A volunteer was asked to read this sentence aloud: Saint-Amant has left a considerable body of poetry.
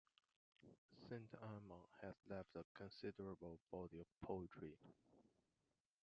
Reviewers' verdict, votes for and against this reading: rejected, 0, 2